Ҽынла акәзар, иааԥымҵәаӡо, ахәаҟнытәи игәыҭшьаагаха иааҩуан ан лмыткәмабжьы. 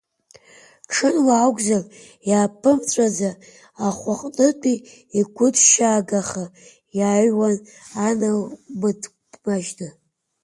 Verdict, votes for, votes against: rejected, 0, 2